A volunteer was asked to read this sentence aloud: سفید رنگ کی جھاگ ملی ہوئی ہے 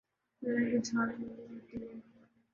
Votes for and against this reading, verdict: 0, 3, rejected